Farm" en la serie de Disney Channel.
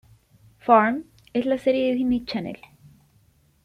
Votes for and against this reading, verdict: 1, 2, rejected